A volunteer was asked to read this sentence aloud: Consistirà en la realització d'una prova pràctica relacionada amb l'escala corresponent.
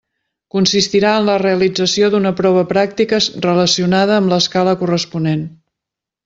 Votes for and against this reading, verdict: 0, 2, rejected